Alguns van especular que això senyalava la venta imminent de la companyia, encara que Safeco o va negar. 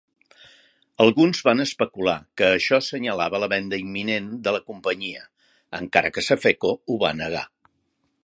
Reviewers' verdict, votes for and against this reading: rejected, 0, 2